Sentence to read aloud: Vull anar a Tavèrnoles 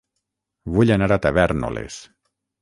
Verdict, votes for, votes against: accepted, 6, 0